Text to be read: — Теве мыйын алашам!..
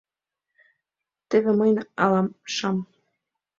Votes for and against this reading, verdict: 0, 2, rejected